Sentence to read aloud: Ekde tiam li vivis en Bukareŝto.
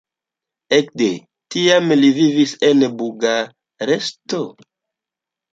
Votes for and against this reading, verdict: 1, 2, rejected